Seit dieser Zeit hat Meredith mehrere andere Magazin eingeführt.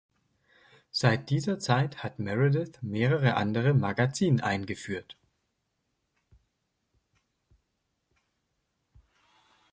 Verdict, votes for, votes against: accepted, 2, 0